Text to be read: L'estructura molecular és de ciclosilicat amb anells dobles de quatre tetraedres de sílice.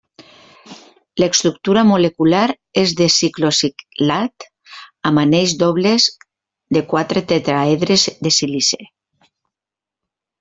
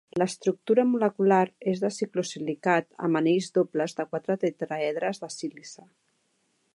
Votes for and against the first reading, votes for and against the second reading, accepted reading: 0, 2, 2, 0, second